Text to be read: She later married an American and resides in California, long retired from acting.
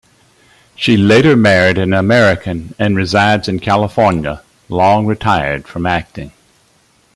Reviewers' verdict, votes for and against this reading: accepted, 2, 0